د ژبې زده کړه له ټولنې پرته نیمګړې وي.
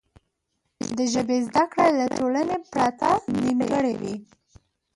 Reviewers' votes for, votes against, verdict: 1, 2, rejected